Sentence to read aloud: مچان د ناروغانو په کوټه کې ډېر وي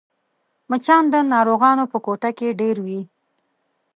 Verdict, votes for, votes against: accepted, 2, 0